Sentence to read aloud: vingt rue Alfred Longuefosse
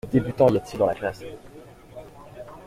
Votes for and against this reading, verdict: 0, 2, rejected